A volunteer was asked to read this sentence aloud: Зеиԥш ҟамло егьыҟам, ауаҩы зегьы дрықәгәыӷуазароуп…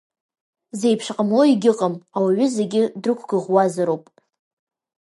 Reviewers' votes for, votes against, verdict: 2, 1, accepted